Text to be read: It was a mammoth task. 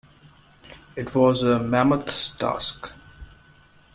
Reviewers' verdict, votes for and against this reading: accepted, 2, 0